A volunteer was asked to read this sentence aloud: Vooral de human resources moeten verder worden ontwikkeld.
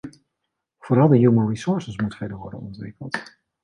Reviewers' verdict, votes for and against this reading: rejected, 1, 2